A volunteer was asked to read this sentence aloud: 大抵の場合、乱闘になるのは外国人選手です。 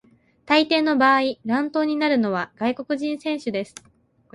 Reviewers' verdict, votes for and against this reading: accepted, 2, 0